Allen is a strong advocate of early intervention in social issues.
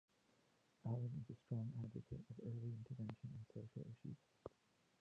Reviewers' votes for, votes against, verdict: 0, 3, rejected